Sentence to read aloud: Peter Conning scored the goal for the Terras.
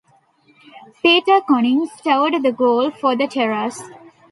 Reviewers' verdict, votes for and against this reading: rejected, 0, 2